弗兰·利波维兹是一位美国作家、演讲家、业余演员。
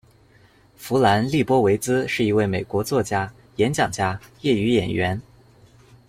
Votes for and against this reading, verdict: 2, 0, accepted